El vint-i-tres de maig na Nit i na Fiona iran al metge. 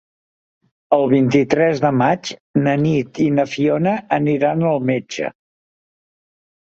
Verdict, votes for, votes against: rejected, 0, 2